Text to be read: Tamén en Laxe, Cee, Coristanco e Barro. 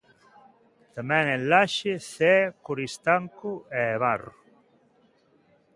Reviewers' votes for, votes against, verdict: 3, 0, accepted